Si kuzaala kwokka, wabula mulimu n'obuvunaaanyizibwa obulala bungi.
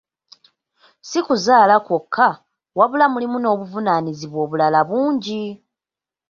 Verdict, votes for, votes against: accepted, 2, 0